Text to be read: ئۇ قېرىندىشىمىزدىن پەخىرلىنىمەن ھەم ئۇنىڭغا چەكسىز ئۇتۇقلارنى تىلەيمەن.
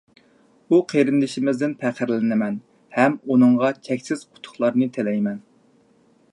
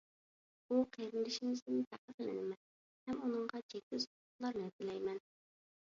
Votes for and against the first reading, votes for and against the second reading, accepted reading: 2, 0, 0, 2, first